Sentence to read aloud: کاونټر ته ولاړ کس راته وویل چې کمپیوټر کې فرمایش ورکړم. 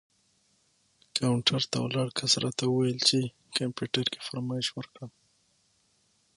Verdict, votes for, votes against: accepted, 6, 0